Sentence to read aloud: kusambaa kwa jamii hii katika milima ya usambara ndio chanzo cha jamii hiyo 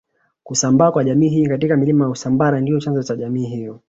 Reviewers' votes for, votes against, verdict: 0, 2, rejected